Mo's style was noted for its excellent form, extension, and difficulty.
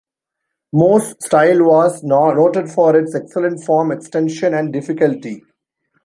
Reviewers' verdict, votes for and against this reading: rejected, 1, 2